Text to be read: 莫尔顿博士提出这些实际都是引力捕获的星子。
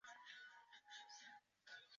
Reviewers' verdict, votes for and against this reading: rejected, 0, 2